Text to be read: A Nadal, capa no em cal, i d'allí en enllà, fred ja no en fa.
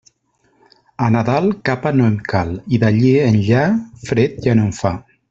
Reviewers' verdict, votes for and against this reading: rejected, 1, 2